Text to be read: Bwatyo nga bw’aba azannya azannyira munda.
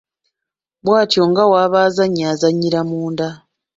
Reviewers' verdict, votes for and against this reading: rejected, 0, 2